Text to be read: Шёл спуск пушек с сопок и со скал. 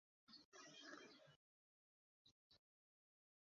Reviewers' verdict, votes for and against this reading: rejected, 0, 2